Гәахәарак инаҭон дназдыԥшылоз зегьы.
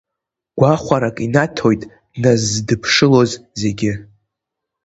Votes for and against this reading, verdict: 3, 4, rejected